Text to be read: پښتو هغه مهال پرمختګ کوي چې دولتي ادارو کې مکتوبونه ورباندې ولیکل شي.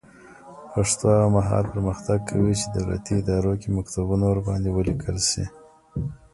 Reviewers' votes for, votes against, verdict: 1, 2, rejected